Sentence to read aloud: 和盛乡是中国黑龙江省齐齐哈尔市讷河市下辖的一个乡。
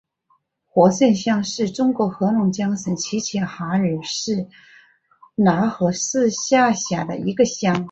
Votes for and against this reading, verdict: 3, 1, accepted